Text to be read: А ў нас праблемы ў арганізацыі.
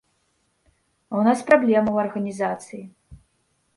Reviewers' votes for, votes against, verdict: 2, 0, accepted